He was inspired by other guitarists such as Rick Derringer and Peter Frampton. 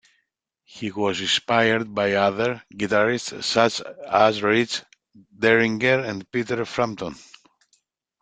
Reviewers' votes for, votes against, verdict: 1, 2, rejected